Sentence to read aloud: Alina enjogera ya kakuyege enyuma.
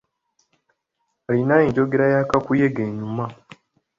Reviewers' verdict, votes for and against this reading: accepted, 2, 0